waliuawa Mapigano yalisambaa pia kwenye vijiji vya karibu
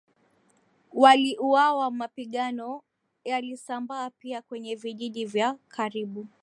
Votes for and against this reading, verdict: 2, 0, accepted